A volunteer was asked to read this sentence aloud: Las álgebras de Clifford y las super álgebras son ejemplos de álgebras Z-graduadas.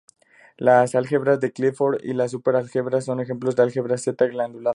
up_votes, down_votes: 0, 2